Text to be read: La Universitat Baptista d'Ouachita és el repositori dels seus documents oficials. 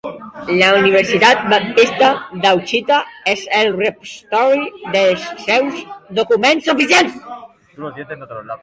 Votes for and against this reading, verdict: 0, 2, rejected